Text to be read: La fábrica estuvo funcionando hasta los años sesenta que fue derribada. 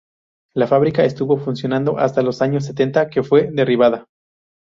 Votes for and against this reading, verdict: 2, 0, accepted